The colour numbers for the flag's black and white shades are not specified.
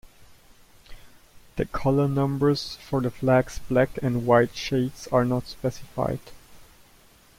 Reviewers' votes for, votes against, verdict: 2, 0, accepted